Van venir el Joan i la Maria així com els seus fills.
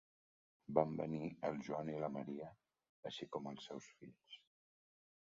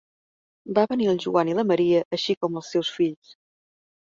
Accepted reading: second